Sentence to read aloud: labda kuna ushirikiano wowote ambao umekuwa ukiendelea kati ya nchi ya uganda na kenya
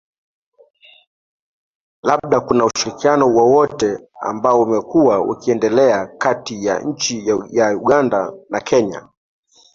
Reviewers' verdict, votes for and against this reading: accepted, 3, 0